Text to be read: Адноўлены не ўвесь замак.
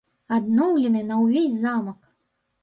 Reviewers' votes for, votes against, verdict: 1, 2, rejected